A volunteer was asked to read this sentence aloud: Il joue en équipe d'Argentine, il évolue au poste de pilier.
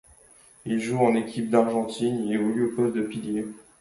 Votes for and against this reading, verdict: 2, 0, accepted